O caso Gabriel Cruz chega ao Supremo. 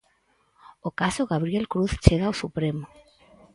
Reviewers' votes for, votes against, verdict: 2, 2, rejected